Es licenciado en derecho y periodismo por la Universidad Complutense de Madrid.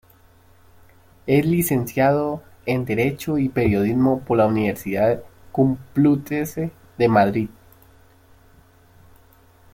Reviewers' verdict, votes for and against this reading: accepted, 2, 1